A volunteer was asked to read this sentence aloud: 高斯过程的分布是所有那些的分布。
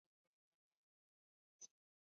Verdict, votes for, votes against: rejected, 0, 2